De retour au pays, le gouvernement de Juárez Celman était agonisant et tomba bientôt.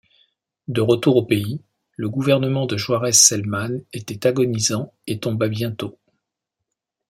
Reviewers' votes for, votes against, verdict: 2, 0, accepted